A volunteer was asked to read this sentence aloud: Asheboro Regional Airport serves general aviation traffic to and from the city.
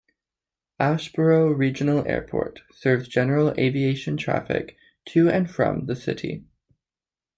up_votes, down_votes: 2, 0